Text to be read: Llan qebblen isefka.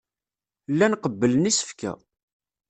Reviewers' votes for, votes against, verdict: 3, 0, accepted